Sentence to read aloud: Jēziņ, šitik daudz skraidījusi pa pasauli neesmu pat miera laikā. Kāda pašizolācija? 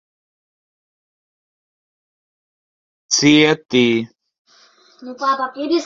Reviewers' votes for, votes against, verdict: 0, 2, rejected